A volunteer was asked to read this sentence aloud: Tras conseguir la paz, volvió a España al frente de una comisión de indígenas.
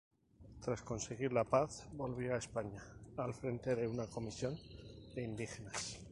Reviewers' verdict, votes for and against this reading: rejected, 0, 2